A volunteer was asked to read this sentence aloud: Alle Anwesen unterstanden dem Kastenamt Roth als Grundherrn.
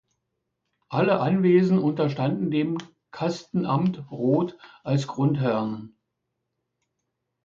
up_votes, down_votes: 2, 0